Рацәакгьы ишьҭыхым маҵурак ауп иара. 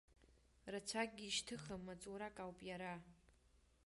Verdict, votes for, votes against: accepted, 2, 1